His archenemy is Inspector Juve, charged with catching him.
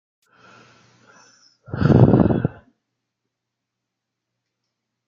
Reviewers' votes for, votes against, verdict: 0, 2, rejected